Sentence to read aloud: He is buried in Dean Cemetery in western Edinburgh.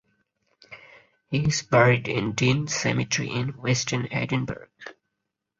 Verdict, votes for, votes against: accepted, 4, 0